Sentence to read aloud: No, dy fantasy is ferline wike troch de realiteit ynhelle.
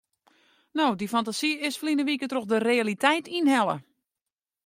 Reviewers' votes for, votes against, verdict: 2, 0, accepted